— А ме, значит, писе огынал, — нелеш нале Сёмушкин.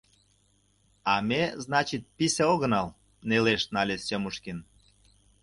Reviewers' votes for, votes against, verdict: 2, 0, accepted